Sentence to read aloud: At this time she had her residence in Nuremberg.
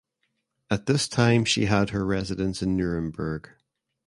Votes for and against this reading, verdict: 2, 0, accepted